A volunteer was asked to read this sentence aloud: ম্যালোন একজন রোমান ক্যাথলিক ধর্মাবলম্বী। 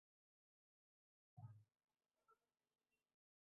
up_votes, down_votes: 0, 4